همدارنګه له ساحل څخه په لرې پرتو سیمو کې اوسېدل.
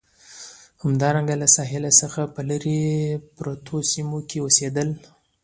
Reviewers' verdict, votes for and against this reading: accepted, 2, 0